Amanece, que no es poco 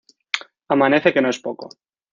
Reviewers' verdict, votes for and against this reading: accepted, 2, 0